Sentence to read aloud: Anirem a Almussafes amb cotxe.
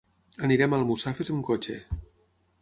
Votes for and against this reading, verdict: 6, 0, accepted